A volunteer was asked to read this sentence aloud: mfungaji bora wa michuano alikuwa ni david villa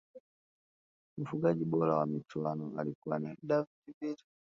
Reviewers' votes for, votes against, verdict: 2, 0, accepted